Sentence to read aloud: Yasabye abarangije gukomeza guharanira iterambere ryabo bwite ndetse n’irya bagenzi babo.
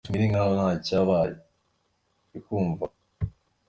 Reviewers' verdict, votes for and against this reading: rejected, 0, 2